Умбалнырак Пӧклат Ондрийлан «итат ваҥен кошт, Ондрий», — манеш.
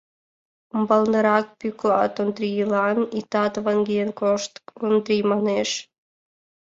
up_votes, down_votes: 0, 2